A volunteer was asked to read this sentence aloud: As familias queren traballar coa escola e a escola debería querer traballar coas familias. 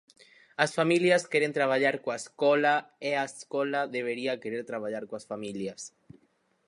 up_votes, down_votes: 4, 0